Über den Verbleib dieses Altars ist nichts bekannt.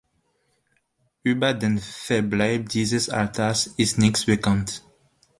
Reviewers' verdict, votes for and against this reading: accepted, 2, 1